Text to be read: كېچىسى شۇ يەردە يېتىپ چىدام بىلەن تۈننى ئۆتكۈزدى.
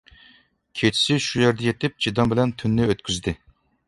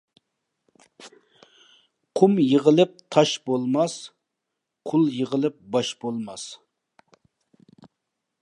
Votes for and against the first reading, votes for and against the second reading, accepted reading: 2, 0, 0, 2, first